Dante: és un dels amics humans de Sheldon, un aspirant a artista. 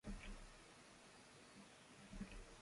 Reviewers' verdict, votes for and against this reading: rejected, 0, 2